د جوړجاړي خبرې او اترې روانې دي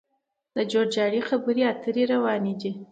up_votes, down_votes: 2, 1